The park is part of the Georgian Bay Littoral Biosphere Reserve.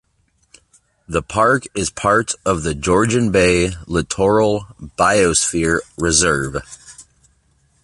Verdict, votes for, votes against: accepted, 2, 0